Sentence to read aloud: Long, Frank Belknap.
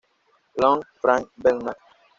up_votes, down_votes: 1, 2